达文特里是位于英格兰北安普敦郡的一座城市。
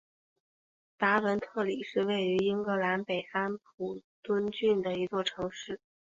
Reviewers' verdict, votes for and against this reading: accepted, 5, 0